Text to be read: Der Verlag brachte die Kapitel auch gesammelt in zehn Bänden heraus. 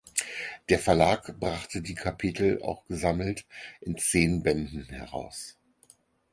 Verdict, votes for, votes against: accepted, 4, 0